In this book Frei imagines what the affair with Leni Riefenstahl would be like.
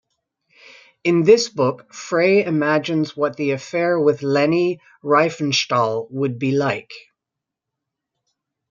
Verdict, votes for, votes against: accepted, 2, 1